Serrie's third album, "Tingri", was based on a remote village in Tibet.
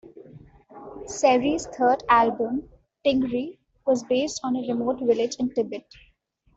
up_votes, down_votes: 2, 0